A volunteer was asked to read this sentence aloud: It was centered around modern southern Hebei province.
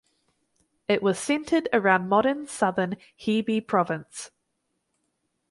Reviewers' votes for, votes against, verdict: 2, 2, rejected